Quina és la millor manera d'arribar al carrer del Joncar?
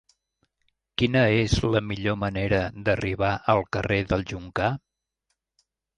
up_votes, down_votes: 2, 0